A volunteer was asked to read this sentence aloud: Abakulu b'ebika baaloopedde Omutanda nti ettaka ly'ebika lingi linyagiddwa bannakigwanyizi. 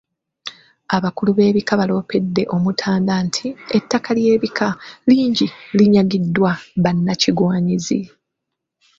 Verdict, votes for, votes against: accepted, 2, 0